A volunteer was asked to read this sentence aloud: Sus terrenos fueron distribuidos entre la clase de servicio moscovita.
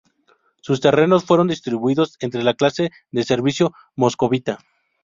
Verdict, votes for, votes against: rejected, 2, 2